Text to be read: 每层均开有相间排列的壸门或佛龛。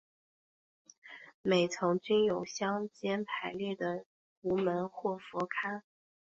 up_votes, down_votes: 3, 0